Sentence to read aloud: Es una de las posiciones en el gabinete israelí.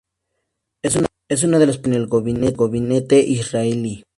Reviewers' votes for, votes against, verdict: 0, 2, rejected